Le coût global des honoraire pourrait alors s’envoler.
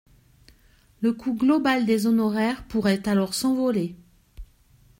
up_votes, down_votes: 2, 0